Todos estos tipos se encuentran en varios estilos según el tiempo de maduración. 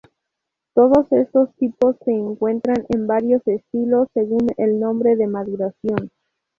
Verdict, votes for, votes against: rejected, 0, 2